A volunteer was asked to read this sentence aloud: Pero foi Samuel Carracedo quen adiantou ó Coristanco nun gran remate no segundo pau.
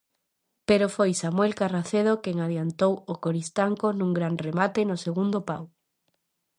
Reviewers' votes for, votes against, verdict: 2, 0, accepted